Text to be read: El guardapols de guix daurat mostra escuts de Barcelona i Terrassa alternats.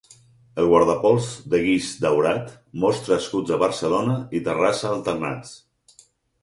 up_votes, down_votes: 4, 0